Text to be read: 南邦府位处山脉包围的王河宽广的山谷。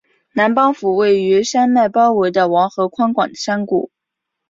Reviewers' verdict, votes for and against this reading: rejected, 1, 2